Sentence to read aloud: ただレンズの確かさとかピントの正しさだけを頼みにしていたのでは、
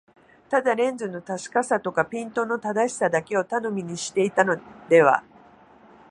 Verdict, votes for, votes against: rejected, 1, 2